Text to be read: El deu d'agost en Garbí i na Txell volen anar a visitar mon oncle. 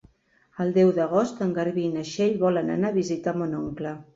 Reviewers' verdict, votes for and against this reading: accepted, 3, 0